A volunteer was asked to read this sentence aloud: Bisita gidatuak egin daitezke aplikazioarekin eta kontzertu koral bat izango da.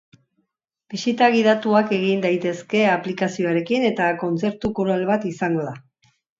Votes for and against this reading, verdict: 2, 0, accepted